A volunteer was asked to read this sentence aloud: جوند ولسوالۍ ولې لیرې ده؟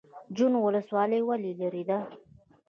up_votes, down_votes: 0, 2